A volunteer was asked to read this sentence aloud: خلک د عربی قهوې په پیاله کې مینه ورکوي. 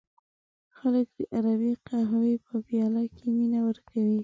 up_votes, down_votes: 1, 2